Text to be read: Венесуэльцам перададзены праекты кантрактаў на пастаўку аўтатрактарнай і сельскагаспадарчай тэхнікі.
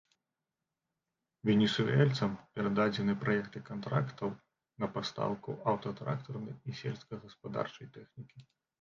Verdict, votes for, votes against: rejected, 0, 2